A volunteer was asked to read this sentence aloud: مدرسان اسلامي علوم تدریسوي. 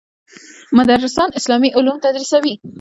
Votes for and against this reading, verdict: 2, 0, accepted